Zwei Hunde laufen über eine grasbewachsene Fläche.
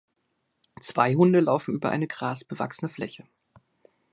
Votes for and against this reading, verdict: 2, 0, accepted